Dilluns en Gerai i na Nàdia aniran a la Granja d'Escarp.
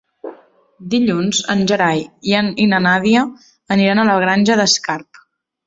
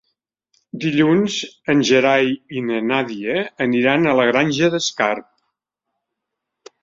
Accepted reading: second